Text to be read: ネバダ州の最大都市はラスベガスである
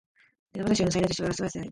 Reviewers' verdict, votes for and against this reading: rejected, 1, 2